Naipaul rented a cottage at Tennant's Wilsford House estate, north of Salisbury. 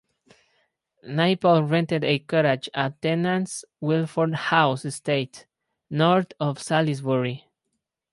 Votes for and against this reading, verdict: 2, 2, rejected